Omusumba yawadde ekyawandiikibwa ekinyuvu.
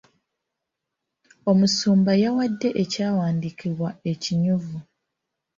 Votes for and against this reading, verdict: 2, 0, accepted